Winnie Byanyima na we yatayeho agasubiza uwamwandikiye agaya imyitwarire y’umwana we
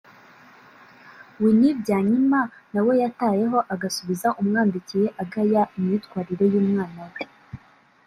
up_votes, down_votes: 0, 2